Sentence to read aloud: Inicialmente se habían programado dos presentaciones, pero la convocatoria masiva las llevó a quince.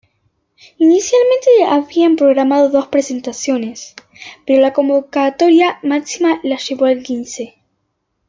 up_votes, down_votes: 0, 2